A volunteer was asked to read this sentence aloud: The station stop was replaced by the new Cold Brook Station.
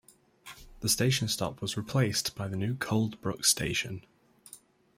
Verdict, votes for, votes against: accepted, 2, 0